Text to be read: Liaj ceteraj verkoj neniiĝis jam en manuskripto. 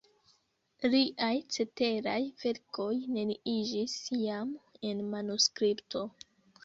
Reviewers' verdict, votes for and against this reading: accepted, 2, 1